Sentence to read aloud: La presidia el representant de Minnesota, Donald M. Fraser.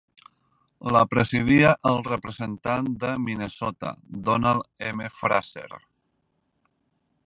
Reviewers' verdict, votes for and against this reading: accepted, 2, 1